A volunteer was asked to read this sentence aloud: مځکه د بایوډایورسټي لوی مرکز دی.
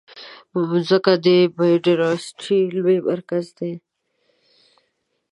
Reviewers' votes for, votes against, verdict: 2, 0, accepted